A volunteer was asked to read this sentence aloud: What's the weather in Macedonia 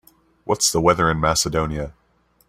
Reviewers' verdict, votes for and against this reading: accepted, 3, 0